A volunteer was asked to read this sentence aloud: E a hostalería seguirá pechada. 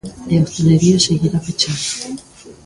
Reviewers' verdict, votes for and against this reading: rejected, 0, 3